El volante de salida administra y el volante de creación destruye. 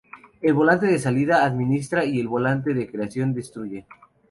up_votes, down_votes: 2, 0